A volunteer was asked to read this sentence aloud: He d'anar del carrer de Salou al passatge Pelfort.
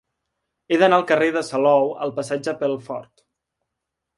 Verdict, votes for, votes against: rejected, 0, 2